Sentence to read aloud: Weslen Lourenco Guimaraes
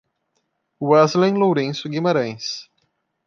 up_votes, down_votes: 0, 2